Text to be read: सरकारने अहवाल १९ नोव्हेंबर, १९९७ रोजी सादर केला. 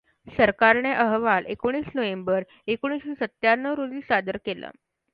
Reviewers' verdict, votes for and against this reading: rejected, 0, 2